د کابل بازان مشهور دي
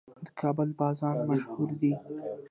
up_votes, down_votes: 1, 2